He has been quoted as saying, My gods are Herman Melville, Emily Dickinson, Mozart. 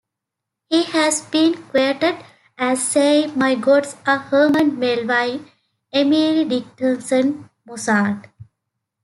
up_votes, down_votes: 2, 1